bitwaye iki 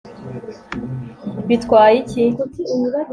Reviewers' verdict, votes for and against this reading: accepted, 2, 0